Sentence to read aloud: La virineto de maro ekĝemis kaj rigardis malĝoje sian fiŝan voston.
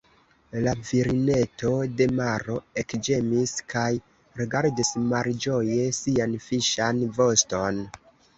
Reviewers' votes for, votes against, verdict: 0, 2, rejected